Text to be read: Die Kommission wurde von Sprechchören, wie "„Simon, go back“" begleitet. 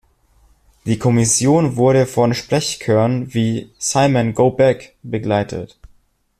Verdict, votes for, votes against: accepted, 2, 0